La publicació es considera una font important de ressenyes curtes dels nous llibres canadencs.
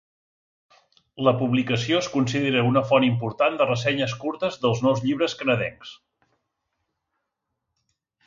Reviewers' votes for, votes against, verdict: 5, 0, accepted